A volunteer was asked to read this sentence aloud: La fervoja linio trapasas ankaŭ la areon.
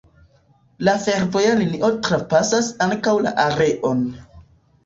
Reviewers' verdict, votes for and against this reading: accepted, 2, 0